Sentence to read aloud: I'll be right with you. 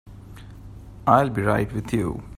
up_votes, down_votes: 3, 0